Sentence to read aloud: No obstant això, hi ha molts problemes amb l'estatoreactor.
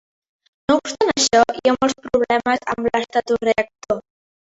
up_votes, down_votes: 1, 2